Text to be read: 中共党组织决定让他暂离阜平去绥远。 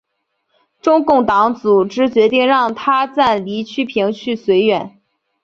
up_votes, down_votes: 0, 2